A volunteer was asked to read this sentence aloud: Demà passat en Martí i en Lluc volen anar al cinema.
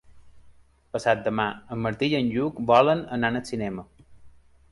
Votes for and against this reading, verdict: 1, 2, rejected